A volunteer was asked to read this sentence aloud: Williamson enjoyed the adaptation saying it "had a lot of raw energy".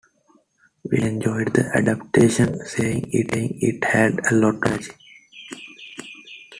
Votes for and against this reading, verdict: 0, 2, rejected